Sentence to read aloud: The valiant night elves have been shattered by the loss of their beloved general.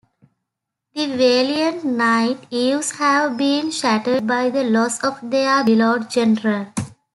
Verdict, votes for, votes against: rejected, 0, 2